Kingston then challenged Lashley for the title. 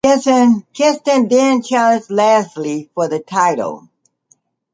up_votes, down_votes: 1, 2